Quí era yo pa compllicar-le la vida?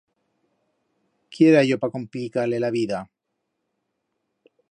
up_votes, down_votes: 1, 2